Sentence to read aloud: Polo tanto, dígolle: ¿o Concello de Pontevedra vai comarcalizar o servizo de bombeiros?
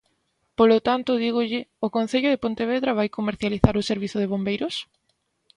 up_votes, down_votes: 1, 2